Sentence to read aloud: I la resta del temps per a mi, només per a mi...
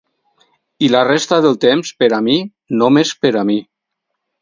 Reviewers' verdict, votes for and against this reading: accepted, 4, 0